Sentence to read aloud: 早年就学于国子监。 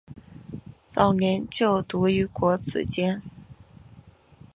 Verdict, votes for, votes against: rejected, 1, 2